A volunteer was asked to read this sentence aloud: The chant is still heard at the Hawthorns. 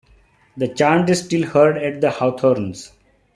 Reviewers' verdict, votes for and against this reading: accepted, 2, 1